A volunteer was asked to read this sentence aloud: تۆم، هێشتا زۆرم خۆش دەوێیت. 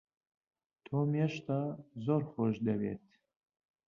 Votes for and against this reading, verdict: 1, 2, rejected